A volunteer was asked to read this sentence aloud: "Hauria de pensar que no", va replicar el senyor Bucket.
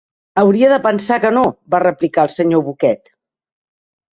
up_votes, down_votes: 4, 0